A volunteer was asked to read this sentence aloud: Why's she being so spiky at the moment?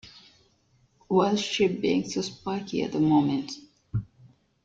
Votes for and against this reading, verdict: 2, 0, accepted